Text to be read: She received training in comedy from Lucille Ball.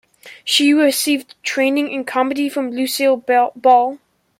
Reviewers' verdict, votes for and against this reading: rejected, 0, 2